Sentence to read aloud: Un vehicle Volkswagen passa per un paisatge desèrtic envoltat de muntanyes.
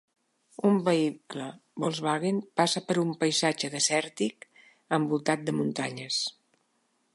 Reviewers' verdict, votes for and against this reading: accepted, 3, 0